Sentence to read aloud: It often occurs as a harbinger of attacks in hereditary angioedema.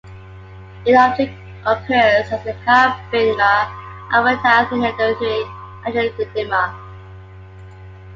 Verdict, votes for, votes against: rejected, 0, 2